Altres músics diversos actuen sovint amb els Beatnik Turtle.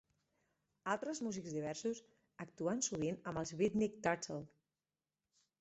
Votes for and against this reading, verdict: 2, 4, rejected